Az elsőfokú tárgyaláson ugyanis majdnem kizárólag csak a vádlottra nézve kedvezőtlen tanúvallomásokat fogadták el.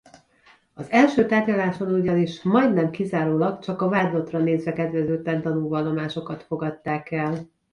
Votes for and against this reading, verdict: 0, 2, rejected